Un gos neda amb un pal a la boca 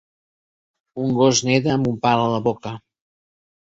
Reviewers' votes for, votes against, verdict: 3, 0, accepted